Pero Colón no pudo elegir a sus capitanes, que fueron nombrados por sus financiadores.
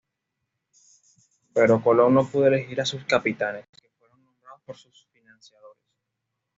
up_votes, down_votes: 1, 2